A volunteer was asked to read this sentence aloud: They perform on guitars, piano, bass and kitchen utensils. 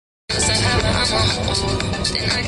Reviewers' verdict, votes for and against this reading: rejected, 0, 2